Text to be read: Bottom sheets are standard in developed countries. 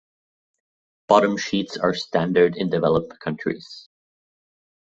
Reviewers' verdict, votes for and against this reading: rejected, 1, 2